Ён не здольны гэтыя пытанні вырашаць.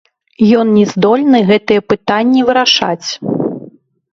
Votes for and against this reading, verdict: 0, 2, rejected